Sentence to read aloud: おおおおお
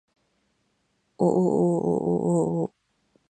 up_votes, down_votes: 2, 2